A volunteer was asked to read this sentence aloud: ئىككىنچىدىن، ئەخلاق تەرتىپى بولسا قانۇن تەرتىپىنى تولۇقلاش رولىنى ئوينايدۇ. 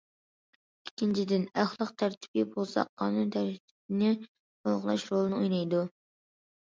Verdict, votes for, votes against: rejected, 1, 2